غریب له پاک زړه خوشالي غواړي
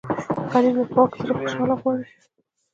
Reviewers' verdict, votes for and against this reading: rejected, 1, 2